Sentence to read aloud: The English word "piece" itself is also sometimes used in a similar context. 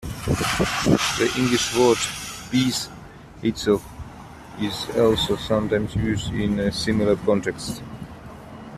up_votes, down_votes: 2, 0